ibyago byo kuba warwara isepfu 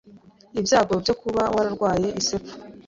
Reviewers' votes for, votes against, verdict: 1, 2, rejected